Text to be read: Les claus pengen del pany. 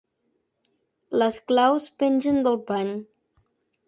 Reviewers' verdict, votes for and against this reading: accepted, 2, 0